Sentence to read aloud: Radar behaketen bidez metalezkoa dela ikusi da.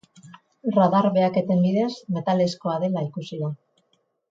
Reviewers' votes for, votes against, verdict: 6, 0, accepted